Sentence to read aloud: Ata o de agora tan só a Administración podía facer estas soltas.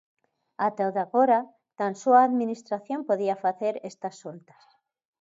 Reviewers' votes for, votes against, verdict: 2, 0, accepted